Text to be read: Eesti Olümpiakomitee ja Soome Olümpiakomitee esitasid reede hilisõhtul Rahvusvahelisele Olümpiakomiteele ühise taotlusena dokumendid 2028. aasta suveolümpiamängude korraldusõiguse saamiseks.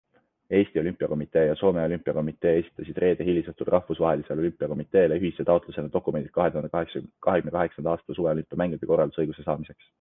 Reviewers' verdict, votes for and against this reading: rejected, 0, 2